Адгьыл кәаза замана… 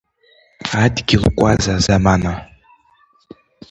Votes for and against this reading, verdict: 2, 0, accepted